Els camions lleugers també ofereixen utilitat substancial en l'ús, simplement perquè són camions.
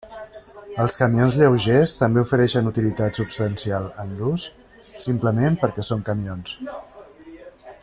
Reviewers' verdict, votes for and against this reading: accepted, 2, 0